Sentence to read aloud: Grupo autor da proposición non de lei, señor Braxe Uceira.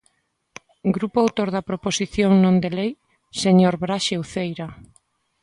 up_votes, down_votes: 2, 0